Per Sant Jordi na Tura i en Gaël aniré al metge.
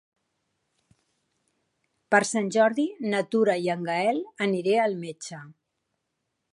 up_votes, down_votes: 4, 0